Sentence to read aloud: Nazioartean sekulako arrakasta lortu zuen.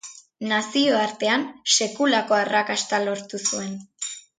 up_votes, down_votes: 1, 2